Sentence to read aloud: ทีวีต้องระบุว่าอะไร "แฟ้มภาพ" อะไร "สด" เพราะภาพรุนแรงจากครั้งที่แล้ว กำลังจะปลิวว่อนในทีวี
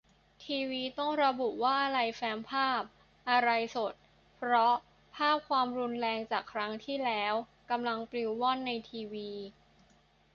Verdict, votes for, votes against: rejected, 0, 2